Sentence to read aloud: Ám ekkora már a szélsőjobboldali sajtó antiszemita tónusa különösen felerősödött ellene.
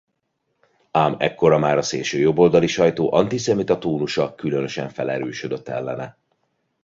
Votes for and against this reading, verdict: 1, 2, rejected